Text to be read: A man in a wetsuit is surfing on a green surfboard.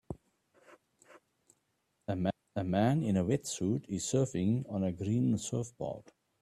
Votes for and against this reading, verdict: 1, 2, rejected